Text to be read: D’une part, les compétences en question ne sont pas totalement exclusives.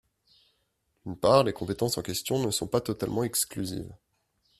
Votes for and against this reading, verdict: 2, 0, accepted